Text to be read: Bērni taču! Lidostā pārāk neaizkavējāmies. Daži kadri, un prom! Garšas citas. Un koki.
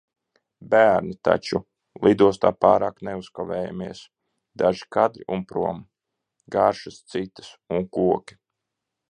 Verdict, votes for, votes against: rejected, 1, 2